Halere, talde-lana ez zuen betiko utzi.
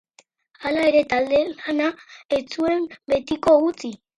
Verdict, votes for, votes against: rejected, 2, 4